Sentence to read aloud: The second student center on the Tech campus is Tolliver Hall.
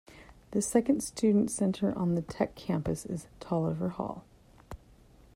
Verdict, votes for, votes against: rejected, 1, 2